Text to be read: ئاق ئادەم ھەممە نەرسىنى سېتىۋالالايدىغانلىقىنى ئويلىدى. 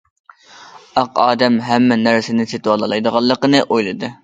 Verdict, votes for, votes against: accepted, 2, 0